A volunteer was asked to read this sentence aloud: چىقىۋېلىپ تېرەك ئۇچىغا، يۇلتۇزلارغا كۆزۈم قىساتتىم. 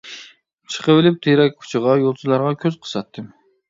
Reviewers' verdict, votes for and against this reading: rejected, 0, 2